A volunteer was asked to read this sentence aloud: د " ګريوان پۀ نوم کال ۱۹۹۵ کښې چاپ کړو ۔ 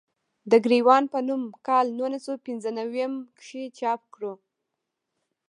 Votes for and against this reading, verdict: 0, 2, rejected